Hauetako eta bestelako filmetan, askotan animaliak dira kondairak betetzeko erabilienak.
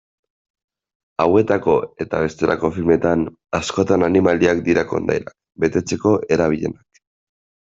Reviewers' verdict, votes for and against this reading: rejected, 0, 2